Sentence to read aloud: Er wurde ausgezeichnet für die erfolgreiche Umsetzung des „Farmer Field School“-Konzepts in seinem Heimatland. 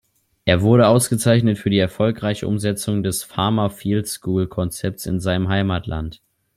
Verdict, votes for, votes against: accepted, 2, 0